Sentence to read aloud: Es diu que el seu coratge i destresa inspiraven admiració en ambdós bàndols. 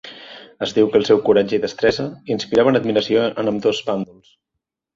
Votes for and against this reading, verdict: 0, 2, rejected